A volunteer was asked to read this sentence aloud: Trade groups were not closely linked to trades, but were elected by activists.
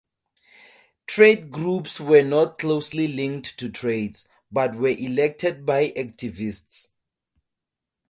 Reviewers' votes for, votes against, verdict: 2, 2, rejected